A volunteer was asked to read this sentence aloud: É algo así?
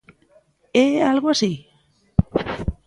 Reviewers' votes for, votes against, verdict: 1, 2, rejected